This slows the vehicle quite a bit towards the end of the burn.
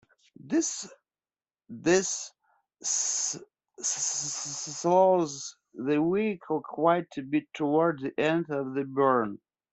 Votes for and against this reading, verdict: 0, 2, rejected